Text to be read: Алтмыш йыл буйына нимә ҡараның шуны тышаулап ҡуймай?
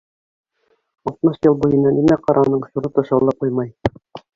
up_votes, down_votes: 1, 3